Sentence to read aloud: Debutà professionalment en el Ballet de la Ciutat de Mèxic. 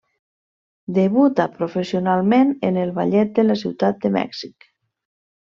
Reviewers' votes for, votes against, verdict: 0, 2, rejected